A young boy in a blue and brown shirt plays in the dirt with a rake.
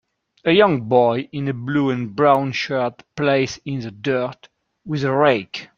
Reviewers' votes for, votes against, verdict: 2, 0, accepted